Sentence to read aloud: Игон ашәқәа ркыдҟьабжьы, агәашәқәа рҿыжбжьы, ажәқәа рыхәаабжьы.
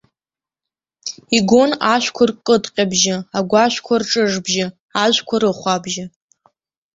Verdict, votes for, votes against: accepted, 2, 0